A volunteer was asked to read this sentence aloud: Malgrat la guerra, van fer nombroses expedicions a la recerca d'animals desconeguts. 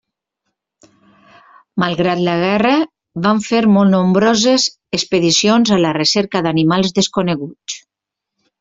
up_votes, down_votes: 0, 2